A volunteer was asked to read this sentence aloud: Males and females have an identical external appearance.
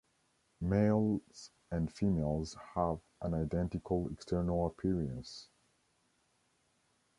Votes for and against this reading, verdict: 2, 0, accepted